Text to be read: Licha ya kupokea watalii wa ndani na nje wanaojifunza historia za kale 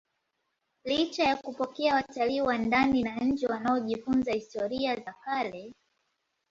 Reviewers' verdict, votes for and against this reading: accepted, 2, 0